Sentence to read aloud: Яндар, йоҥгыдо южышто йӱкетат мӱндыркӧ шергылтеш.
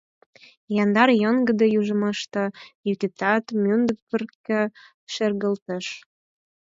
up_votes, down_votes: 0, 4